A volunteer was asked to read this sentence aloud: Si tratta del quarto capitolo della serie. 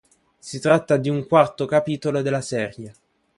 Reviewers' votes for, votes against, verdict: 1, 2, rejected